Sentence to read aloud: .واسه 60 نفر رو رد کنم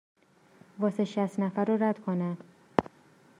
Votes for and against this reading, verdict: 0, 2, rejected